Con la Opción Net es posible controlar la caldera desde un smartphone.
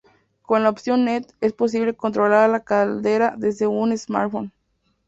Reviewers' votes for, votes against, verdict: 2, 0, accepted